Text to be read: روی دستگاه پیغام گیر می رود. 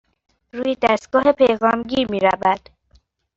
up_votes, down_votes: 2, 1